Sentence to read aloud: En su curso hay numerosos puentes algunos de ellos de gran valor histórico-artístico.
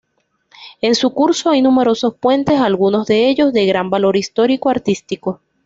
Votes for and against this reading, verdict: 2, 1, accepted